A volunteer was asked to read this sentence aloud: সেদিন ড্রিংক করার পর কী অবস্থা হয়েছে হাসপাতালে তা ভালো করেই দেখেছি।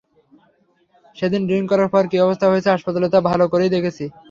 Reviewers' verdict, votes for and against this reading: accepted, 3, 0